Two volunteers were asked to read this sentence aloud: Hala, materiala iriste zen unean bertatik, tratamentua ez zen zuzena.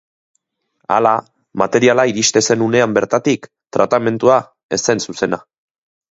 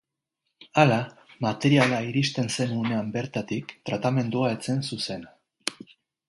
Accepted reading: first